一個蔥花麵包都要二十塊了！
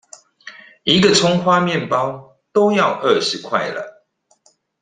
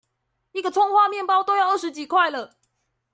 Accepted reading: first